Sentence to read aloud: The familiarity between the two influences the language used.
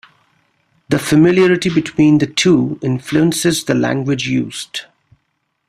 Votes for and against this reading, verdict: 2, 0, accepted